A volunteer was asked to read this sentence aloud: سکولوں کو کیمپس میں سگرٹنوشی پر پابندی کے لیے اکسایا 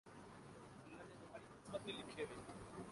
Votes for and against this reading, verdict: 0, 4, rejected